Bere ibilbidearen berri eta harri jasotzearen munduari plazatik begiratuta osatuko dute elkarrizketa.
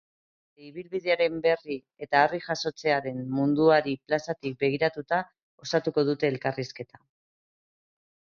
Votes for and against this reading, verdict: 0, 2, rejected